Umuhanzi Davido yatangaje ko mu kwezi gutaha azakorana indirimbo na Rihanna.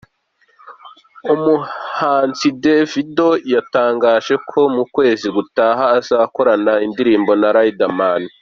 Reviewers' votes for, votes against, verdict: 0, 2, rejected